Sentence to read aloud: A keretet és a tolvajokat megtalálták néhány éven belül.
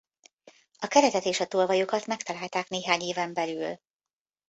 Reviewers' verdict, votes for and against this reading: accepted, 2, 0